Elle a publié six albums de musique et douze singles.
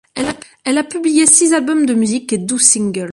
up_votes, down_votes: 0, 2